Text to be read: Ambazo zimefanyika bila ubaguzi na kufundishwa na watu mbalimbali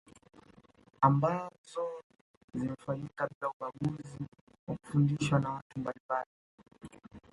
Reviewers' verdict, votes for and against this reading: accepted, 2, 1